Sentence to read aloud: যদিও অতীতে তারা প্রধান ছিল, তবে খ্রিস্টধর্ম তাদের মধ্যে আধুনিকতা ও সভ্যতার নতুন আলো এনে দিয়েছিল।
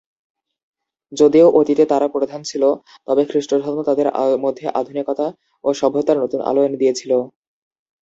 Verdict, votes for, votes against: accepted, 2, 0